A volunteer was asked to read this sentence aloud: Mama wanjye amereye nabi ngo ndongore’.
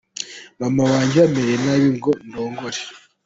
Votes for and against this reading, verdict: 2, 0, accepted